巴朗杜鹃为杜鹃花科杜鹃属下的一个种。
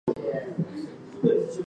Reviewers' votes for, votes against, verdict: 0, 3, rejected